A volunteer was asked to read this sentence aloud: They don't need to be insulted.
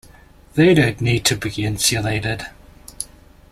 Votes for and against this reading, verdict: 0, 2, rejected